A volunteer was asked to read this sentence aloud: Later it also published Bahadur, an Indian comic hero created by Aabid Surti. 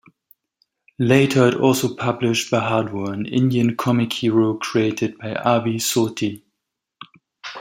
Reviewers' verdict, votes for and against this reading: accepted, 2, 0